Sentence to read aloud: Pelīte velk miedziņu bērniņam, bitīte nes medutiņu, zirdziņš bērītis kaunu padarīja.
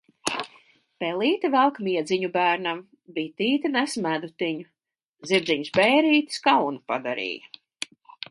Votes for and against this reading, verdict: 0, 4, rejected